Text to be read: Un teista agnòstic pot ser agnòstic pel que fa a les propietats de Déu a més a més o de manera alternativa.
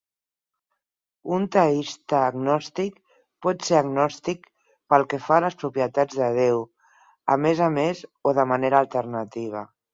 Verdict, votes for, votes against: accepted, 4, 0